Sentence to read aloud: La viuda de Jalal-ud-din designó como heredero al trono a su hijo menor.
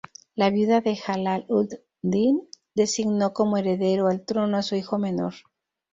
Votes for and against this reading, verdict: 2, 2, rejected